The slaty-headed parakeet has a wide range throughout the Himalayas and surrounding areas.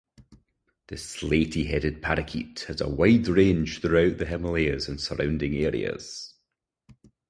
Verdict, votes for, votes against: accepted, 4, 2